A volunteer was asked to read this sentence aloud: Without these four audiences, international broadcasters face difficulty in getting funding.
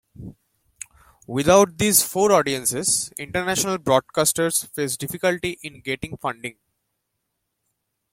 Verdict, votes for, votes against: accepted, 2, 0